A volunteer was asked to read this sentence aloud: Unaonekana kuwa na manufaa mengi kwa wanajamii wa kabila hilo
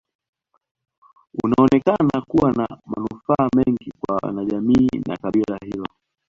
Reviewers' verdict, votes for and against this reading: accepted, 2, 0